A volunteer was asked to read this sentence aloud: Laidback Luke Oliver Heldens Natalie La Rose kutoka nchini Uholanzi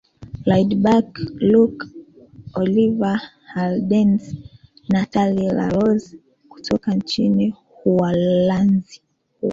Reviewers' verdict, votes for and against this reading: rejected, 0, 2